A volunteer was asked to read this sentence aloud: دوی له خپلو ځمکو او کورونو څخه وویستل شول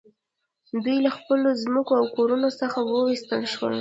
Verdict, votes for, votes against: rejected, 0, 2